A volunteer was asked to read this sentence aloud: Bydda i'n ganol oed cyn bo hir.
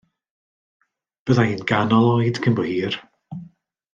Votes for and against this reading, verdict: 2, 0, accepted